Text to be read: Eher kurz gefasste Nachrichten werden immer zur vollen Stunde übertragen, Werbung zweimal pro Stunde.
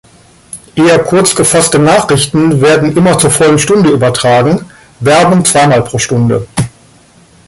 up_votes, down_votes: 0, 2